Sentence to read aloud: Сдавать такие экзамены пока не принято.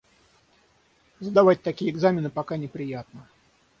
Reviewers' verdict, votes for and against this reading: rejected, 3, 3